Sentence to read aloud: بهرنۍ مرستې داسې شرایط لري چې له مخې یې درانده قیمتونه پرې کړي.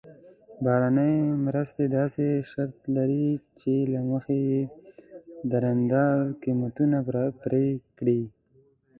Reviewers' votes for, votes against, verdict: 1, 2, rejected